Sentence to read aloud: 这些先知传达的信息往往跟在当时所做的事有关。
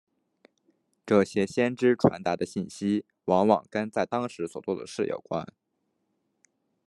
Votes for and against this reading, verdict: 2, 1, accepted